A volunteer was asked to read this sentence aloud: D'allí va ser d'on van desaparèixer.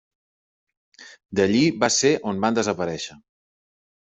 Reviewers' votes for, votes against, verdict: 0, 2, rejected